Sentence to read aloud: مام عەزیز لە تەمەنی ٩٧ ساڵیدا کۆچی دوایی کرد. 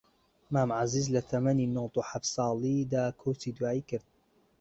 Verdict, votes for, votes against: rejected, 0, 2